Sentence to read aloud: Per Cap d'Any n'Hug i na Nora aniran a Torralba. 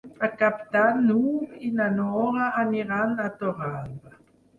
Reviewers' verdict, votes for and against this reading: rejected, 2, 4